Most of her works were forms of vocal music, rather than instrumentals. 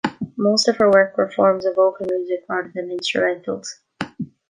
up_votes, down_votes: 1, 2